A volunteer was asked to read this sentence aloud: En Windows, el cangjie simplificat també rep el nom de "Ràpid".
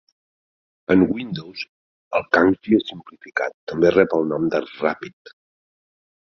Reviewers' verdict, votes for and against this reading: rejected, 0, 2